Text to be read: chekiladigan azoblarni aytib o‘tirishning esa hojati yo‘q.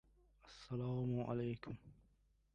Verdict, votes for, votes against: rejected, 0, 2